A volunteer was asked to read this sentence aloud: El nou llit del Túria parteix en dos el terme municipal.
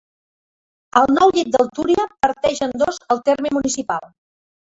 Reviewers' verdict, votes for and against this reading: accepted, 2, 1